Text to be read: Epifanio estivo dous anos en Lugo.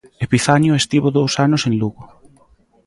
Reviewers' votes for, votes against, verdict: 2, 0, accepted